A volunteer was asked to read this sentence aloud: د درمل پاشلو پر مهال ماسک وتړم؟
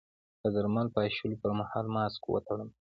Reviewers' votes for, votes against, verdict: 2, 1, accepted